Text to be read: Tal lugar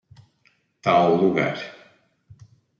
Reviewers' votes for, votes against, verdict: 2, 0, accepted